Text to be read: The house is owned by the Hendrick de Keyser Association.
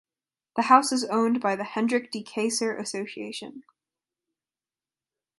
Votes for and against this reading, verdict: 2, 0, accepted